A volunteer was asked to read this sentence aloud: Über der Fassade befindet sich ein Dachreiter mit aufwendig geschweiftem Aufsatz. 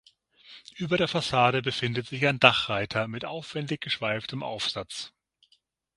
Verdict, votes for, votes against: accepted, 6, 0